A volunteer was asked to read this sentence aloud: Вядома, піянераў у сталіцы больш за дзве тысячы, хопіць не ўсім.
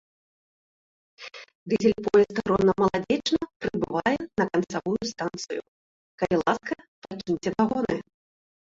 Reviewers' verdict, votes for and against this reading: rejected, 0, 2